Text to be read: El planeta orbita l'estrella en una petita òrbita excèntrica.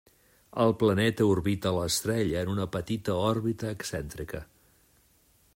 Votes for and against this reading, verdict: 3, 0, accepted